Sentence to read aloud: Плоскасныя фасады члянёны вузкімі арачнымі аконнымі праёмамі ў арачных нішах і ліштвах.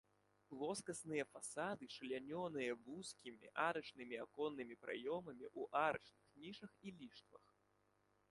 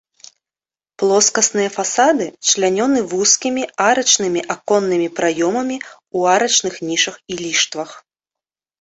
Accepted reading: second